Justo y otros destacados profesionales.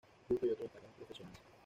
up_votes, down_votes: 1, 2